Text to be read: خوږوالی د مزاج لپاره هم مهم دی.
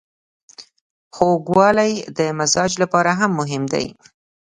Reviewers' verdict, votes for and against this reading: accepted, 2, 0